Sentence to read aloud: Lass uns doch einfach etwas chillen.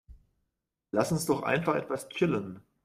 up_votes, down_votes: 2, 0